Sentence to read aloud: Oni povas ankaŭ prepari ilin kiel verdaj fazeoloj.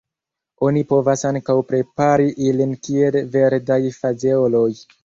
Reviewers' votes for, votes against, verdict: 2, 0, accepted